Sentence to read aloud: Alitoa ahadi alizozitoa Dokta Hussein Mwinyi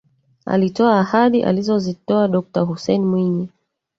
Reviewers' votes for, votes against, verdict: 1, 2, rejected